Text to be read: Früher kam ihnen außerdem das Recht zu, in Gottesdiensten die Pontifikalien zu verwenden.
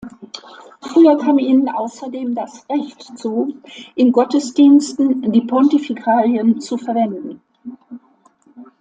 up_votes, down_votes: 1, 2